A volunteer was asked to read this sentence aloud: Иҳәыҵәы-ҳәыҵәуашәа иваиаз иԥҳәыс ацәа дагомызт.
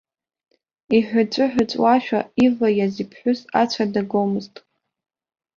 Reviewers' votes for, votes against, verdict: 2, 1, accepted